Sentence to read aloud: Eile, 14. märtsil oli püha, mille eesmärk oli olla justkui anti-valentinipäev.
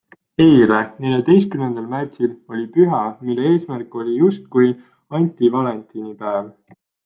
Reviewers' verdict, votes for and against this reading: rejected, 0, 2